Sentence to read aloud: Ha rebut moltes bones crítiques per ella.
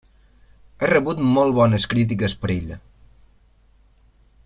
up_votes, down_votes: 0, 2